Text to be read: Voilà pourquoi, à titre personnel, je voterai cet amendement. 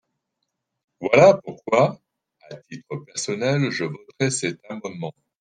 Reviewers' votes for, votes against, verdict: 2, 3, rejected